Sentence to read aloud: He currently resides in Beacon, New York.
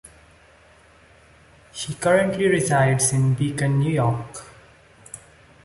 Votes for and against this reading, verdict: 2, 0, accepted